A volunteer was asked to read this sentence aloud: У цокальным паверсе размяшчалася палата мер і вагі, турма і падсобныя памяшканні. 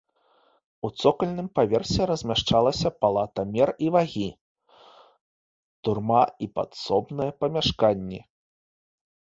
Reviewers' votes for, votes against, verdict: 0, 2, rejected